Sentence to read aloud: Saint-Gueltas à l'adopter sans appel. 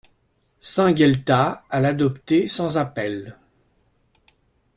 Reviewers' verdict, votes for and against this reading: accepted, 2, 0